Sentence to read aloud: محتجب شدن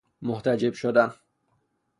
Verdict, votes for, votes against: accepted, 3, 0